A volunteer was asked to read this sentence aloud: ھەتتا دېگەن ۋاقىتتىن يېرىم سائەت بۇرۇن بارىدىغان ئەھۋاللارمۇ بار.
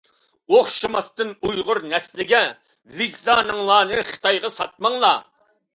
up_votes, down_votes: 0, 2